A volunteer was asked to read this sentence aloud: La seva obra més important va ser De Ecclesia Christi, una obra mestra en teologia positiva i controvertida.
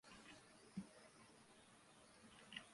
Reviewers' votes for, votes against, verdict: 0, 2, rejected